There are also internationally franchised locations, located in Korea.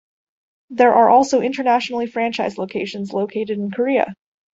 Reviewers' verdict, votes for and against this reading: accepted, 2, 0